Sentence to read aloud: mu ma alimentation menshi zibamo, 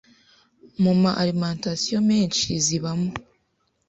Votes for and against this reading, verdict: 2, 0, accepted